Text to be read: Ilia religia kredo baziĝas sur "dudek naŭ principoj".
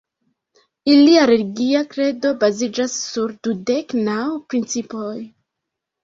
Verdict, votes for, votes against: accepted, 2, 0